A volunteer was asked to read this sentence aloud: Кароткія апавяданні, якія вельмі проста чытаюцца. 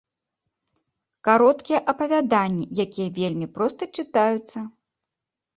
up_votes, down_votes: 2, 0